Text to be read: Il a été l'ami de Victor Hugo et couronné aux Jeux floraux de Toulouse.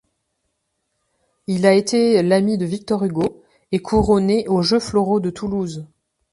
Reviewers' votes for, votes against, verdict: 1, 2, rejected